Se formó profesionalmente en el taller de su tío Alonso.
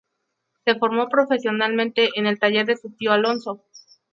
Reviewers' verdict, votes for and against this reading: accepted, 2, 0